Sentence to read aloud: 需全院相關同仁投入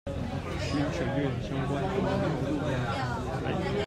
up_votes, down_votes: 1, 2